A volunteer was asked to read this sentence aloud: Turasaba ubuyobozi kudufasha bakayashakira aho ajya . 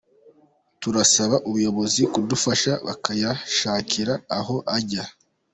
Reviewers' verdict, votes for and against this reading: accepted, 2, 1